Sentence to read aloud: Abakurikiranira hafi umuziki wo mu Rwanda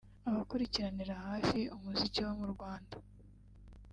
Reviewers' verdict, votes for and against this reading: rejected, 1, 2